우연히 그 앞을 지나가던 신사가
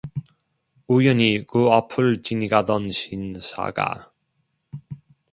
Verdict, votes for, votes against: rejected, 0, 2